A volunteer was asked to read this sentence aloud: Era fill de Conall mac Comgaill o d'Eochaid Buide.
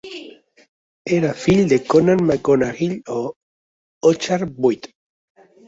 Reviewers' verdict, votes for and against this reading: rejected, 1, 2